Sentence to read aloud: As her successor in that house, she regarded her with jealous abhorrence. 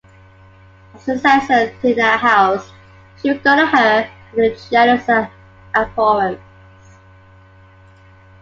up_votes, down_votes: 0, 2